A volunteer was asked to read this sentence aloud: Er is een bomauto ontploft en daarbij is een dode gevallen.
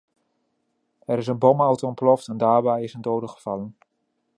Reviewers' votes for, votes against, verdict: 2, 0, accepted